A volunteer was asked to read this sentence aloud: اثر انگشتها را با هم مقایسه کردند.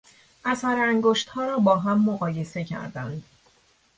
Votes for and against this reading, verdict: 2, 0, accepted